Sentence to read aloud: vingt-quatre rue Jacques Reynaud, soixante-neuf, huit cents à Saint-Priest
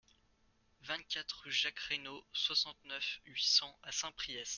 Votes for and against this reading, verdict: 2, 0, accepted